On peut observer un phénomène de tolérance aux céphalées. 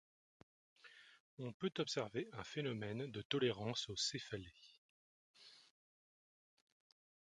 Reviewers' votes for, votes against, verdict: 0, 2, rejected